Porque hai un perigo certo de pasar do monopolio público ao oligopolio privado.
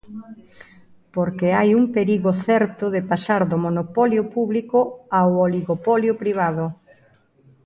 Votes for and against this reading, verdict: 0, 2, rejected